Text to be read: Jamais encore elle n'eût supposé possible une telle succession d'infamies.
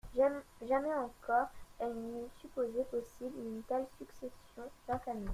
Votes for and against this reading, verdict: 1, 2, rejected